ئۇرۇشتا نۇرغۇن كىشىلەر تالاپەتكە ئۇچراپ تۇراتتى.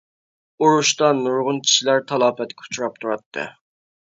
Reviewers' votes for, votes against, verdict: 2, 0, accepted